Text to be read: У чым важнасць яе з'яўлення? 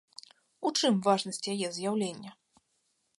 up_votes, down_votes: 2, 0